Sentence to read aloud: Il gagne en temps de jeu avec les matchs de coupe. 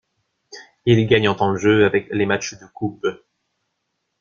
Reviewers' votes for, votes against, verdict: 2, 0, accepted